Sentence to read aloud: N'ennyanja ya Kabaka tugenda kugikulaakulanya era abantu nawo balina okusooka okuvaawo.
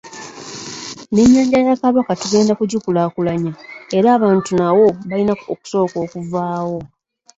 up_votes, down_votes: 1, 2